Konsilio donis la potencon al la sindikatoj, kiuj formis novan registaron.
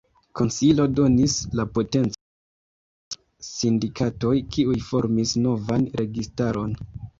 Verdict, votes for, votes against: rejected, 0, 2